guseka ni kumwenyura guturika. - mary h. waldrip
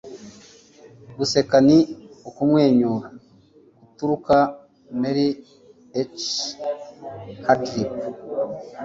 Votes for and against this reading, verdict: 2, 1, accepted